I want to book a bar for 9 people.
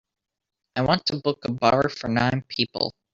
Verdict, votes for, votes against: rejected, 0, 2